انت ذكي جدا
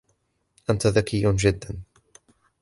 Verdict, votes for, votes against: accepted, 2, 0